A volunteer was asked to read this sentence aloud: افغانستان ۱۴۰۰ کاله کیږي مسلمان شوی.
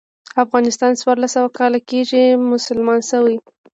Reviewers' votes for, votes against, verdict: 0, 2, rejected